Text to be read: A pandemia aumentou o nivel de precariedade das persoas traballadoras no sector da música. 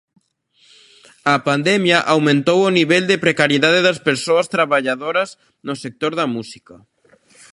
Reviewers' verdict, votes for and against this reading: accepted, 2, 0